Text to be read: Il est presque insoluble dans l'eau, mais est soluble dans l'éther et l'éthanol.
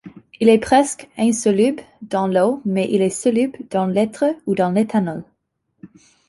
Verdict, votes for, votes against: rejected, 0, 2